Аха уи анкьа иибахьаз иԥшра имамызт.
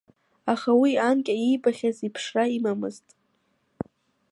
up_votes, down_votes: 0, 2